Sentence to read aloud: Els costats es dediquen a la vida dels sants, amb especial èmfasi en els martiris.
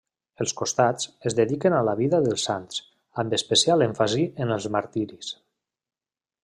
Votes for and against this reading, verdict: 3, 0, accepted